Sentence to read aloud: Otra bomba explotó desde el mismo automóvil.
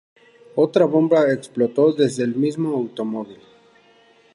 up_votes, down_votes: 2, 0